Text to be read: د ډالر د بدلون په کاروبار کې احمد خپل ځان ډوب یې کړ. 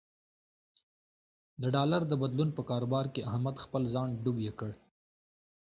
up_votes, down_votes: 2, 0